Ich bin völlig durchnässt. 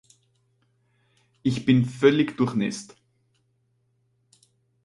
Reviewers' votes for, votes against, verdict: 4, 0, accepted